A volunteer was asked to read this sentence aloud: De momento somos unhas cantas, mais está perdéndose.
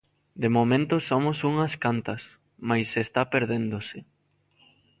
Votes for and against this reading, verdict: 2, 0, accepted